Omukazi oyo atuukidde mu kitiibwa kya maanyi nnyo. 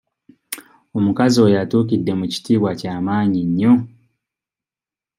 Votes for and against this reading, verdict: 2, 0, accepted